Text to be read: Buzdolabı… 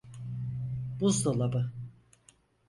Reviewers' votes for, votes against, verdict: 4, 0, accepted